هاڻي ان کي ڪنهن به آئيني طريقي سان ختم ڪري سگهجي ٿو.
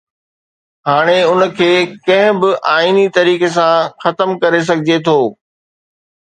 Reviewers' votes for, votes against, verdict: 2, 0, accepted